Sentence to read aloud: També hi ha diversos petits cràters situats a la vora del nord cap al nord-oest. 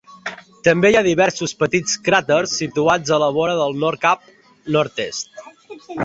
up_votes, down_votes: 0, 2